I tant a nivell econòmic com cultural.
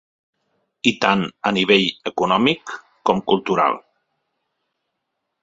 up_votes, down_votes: 4, 0